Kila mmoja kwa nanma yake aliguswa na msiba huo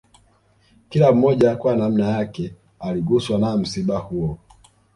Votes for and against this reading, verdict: 2, 0, accepted